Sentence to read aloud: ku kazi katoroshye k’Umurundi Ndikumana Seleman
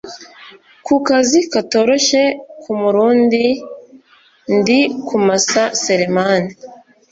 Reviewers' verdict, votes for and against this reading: rejected, 1, 2